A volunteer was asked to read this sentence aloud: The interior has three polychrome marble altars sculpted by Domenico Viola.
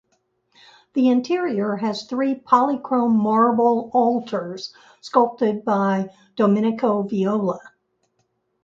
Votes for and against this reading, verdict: 2, 0, accepted